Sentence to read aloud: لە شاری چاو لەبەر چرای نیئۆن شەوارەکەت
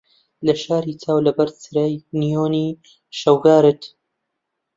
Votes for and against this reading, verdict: 0, 2, rejected